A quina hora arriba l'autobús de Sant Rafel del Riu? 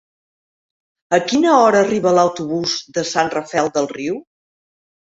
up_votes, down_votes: 3, 0